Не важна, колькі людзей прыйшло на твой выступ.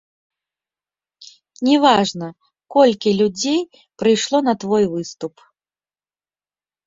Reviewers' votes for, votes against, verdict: 2, 0, accepted